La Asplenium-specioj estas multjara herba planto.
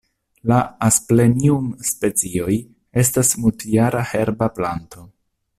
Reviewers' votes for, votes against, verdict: 2, 0, accepted